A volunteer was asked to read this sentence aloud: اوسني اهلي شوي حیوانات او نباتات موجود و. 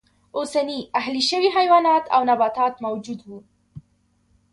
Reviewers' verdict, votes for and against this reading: accepted, 3, 0